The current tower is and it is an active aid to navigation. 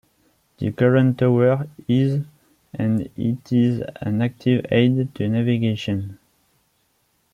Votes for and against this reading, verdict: 1, 2, rejected